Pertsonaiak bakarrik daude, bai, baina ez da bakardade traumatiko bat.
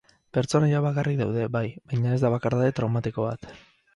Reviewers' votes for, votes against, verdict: 4, 2, accepted